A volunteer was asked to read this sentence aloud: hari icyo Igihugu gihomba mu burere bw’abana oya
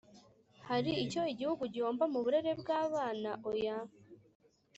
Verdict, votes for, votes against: accepted, 3, 0